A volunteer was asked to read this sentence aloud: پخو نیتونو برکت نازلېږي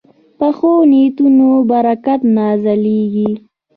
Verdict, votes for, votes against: rejected, 1, 2